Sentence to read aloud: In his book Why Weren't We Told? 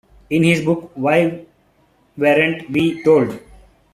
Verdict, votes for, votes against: rejected, 1, 2